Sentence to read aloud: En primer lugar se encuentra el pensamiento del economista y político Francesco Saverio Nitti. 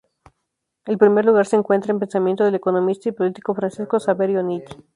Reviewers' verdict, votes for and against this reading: rejected, 2, 2